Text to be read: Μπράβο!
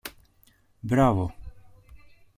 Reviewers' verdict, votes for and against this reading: accepted, 2, 0